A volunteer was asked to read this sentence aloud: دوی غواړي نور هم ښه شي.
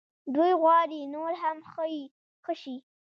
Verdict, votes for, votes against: rejected, 1, 2